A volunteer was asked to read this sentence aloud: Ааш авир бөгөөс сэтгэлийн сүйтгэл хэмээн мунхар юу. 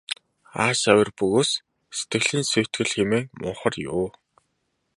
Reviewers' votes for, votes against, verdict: 2, 0, accepted